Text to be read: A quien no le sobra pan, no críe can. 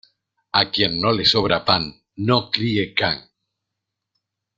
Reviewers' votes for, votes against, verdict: 2, 0, accepted